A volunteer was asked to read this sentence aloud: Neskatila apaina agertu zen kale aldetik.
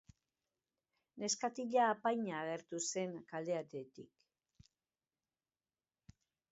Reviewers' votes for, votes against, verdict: 2, 2, rejected